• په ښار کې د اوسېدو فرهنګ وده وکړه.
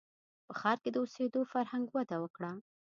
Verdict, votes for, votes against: accepted, 2, 0